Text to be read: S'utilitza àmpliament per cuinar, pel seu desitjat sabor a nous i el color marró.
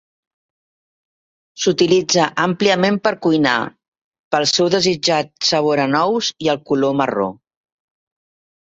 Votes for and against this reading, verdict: 3, 0, accepted